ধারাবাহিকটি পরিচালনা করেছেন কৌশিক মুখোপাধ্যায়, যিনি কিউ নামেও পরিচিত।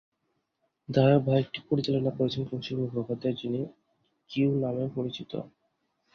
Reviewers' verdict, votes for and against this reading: rejected, 2, 2